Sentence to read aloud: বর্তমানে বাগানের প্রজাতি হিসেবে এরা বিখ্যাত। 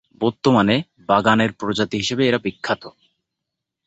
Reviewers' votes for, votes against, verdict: 2, 0, accepted